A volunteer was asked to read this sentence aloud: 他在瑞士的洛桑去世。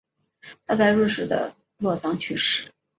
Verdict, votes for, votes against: accepted, 2, 0